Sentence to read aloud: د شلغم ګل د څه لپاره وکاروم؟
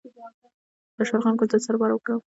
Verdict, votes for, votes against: accepted, 2, 1